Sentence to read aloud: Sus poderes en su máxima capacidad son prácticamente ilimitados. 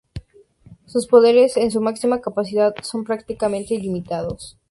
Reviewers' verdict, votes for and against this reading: accepted, 2, 0